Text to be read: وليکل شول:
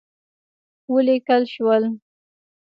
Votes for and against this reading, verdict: 1, 2, rejected